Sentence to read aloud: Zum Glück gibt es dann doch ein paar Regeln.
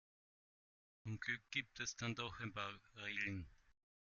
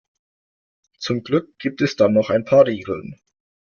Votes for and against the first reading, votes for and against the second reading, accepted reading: 0, 2, 2, 0, second